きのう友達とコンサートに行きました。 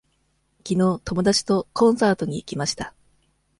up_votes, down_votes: 2, 0